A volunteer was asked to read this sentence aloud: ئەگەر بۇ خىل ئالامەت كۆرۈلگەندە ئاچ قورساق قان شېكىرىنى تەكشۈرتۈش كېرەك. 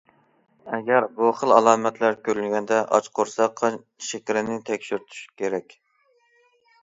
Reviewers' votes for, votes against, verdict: 0, 2, rejected